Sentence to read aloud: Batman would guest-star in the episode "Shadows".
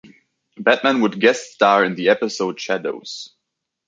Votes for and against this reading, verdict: 2, 0, accepted